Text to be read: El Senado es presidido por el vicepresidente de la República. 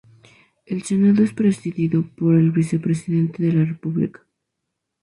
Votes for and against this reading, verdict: 0, 2, rejected